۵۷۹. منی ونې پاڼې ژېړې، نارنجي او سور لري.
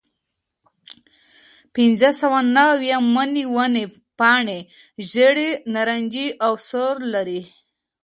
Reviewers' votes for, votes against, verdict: 0, 2, rejected